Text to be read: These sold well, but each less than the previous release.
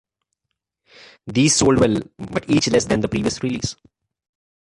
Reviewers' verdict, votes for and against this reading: accepted, 3, 1